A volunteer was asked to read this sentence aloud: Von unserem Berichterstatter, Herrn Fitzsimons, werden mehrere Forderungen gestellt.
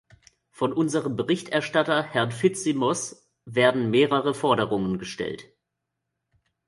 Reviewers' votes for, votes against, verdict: 0, 2, rejected